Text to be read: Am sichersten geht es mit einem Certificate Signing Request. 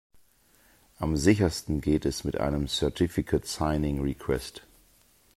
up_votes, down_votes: 2, 0